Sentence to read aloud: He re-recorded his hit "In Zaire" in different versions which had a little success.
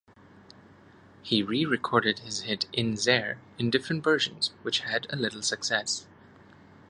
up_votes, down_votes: 1, 2